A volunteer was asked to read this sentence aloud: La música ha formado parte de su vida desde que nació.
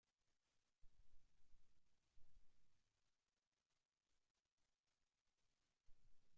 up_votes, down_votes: 0, 2